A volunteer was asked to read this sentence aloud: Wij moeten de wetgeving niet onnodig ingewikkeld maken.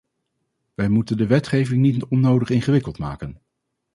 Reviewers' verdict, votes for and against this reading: rejected, 0, 2